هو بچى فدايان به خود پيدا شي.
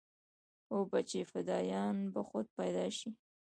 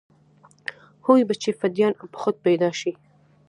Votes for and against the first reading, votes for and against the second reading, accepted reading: 1, 2, 2, 0, second